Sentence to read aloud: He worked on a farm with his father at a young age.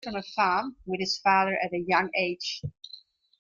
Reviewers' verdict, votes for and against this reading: rejected, 0, 3